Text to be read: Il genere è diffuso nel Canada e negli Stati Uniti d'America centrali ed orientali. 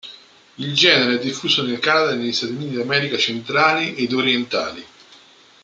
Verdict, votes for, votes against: accepted, 3, 1